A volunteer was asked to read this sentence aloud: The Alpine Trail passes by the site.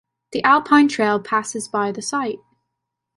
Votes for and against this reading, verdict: 2, 1, accepted